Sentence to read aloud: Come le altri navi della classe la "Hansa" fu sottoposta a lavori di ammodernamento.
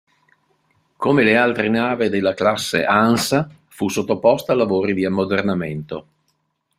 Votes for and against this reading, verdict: 1, 2, rejected